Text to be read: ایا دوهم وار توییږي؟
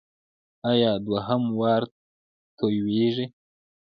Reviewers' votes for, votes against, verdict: 1, 2, rejected